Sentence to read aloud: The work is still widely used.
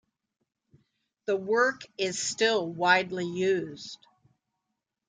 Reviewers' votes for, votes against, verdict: 2, 0, accepted